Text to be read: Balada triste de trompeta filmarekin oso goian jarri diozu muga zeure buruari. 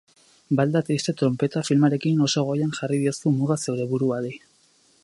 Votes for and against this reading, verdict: 0, 4, rejected